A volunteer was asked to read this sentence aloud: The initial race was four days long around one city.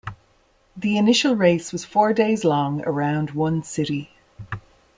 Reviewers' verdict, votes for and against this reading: accepted, 2, 0